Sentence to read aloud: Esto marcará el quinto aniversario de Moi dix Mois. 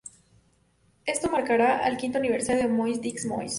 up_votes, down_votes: 0, 2